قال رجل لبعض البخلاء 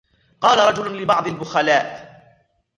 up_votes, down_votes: 2, 0